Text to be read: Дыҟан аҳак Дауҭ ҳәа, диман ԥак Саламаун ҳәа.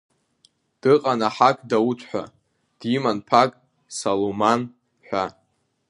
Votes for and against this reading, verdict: 2, 1, accepted